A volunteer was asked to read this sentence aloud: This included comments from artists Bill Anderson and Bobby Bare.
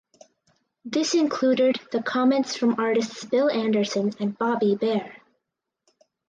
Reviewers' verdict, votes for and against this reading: rejected, 0, 4